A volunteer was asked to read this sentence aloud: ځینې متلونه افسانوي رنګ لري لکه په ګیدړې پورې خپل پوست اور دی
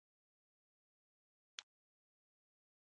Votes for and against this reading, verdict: 0, 2, rejected